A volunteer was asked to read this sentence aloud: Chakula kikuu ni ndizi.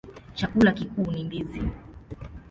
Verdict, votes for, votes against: accepted, 2, 0